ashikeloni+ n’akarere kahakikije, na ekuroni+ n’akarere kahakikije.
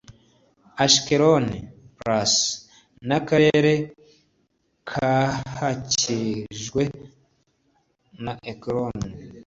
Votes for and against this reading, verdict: 1, 2, rejected